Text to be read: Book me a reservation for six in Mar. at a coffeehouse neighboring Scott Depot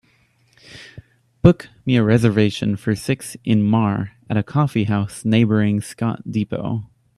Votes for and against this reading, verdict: 2, 0, accepted